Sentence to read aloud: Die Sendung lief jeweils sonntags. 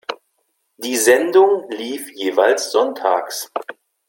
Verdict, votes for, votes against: accepted, 2, 0